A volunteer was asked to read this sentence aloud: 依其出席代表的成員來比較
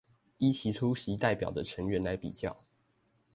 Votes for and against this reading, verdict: 2, 0, accepted